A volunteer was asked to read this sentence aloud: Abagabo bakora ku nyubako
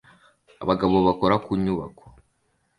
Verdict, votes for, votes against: accepted, 2, 0